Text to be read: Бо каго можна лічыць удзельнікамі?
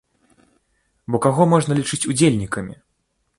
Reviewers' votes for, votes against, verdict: 2, 0, accepted